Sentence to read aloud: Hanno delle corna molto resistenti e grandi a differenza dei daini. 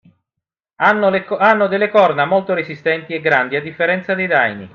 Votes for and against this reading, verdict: 0, 2, rejected